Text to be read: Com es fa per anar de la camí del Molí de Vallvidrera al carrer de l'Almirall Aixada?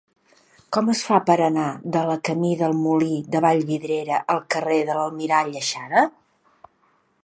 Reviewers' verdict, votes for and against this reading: accepted, 2, 0